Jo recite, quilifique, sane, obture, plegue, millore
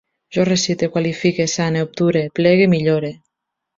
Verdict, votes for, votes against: accepted, 2, 1